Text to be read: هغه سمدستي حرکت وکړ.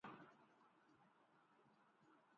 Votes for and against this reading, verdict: 0, 2, rejected